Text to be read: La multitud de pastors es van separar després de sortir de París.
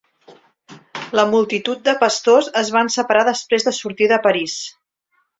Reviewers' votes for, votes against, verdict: 3, 0, accepted